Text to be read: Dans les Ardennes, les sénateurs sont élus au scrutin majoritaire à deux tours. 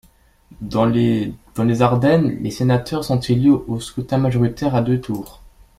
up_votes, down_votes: 1, 2